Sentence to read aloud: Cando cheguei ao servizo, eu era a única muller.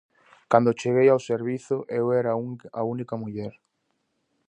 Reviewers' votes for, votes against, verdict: 0, 2, rejected